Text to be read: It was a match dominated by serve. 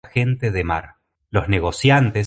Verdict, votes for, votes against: rejected, 1, 2